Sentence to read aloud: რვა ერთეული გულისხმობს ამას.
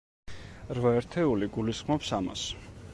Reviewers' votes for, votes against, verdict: 2, 0, accepted